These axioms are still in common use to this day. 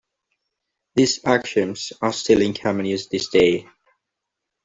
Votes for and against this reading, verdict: 0, 2, rejected